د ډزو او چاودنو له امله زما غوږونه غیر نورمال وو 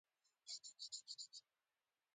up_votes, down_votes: 1, 2